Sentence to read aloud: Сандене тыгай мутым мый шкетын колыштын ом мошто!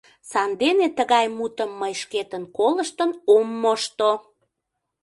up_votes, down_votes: 2, 0